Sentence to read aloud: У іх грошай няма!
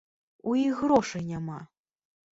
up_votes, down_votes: 3, 0